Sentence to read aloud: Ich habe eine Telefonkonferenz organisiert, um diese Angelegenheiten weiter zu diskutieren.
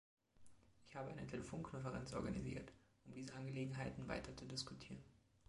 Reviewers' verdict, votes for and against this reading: accepted, 2, 1